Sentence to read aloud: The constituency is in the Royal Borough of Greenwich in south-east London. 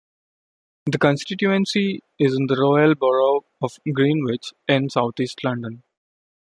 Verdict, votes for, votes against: rejected, 0, 2